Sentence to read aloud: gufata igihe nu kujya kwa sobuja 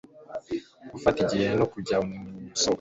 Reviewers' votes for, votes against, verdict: 1, 2, rejected